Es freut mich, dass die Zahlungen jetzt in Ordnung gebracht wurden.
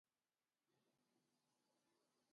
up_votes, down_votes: 0, 2